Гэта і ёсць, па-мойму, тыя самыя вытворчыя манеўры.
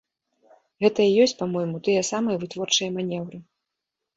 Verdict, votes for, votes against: accepted, 2, 0